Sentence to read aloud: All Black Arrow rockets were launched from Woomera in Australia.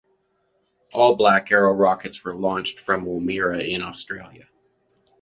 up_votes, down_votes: 2, 0